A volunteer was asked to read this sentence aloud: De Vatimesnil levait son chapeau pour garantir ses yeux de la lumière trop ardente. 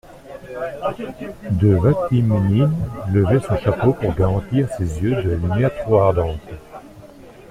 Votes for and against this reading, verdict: 3, 1, accepted